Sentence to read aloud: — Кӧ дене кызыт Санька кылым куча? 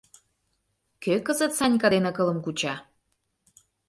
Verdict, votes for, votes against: rejected, 0, 2